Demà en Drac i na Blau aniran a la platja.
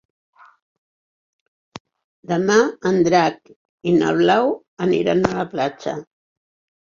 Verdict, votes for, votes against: accepted, 4, 0